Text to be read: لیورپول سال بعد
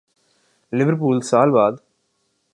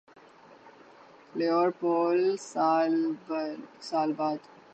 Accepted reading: first